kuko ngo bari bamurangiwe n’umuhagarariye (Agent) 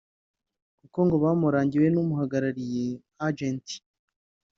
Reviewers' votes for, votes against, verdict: 2, 3, rejected